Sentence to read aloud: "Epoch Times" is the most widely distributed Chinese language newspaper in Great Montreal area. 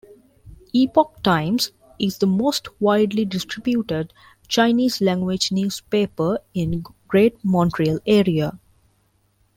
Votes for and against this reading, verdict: 1, 2, rejected